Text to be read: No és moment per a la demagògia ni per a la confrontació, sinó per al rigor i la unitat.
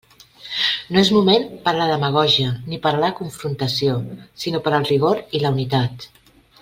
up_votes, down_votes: 3, 0